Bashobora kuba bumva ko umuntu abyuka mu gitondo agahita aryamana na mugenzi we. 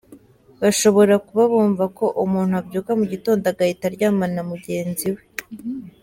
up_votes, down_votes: 0, 2